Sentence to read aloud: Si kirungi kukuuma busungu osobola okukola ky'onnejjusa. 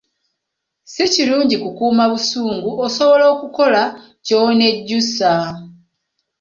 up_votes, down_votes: 0, 2